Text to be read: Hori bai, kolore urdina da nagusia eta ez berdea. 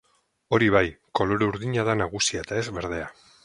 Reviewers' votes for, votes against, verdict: 2, 2, rejected